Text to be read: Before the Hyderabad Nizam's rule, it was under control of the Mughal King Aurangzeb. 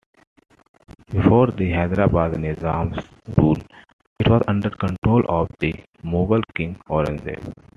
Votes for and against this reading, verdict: 2, 0, accepted